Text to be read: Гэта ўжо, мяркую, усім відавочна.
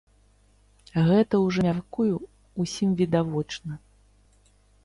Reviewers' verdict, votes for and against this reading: rejected, 2, 3